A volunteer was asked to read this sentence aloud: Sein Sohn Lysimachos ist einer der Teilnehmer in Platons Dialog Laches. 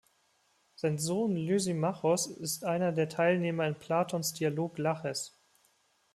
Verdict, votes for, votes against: accepted, 2, 0